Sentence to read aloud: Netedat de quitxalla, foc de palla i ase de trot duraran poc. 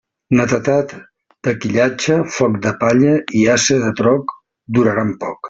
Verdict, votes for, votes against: rejected, 0, 2